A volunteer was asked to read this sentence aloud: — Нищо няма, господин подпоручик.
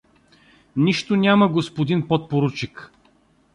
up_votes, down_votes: 2, 0